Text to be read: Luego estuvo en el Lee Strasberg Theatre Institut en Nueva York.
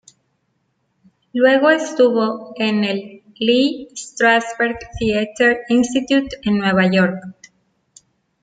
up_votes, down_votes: 2, 0